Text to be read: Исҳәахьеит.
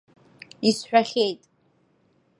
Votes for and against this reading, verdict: 2, 0, accepted